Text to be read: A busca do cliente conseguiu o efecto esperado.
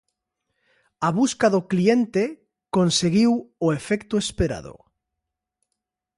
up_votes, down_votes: 2, 0